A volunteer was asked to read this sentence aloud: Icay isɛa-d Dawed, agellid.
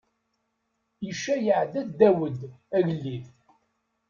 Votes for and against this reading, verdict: 0, 2, rejected